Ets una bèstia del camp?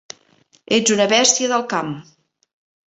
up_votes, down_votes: 1, 2